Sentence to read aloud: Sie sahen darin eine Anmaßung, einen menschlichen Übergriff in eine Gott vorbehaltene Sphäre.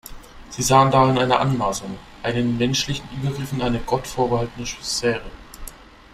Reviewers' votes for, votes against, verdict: 0, 2, rejected